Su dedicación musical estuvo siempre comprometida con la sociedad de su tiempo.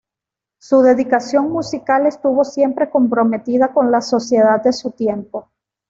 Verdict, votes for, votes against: accepted, 2, 0